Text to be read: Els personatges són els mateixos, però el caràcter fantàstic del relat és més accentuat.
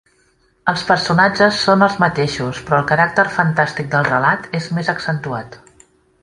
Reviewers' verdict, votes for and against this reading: accepted, 2, 0